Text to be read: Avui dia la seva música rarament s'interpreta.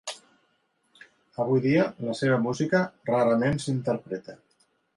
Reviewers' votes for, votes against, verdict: 3, 0, accepted